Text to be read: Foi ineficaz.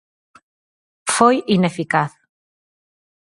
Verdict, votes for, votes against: accepted, 4, 0